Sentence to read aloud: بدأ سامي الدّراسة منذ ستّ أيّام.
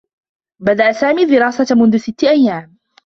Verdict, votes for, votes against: rejected, 1, 2